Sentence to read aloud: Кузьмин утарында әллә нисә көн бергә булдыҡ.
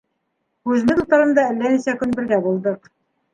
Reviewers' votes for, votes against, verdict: 1, 3, rejected